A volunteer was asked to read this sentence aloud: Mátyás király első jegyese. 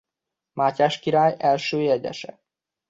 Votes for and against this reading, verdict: 2, 0, accepted